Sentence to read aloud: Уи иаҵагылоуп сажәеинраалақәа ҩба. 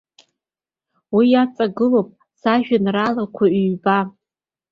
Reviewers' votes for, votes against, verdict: 2, 0, accepted